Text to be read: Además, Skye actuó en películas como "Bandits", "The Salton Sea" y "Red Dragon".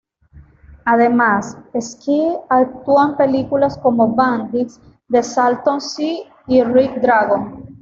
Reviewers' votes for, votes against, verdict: 1, 2, rejected